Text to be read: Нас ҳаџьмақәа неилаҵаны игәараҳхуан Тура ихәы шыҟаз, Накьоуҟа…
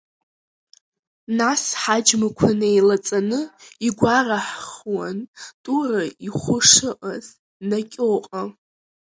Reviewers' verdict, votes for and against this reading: rejected, 1, 2